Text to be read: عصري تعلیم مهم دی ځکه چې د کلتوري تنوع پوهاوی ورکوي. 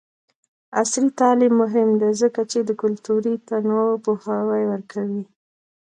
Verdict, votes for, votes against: accepted, 2, 1